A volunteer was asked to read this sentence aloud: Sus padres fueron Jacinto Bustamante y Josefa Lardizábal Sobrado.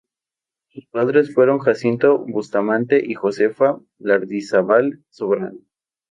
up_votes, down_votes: 2, 2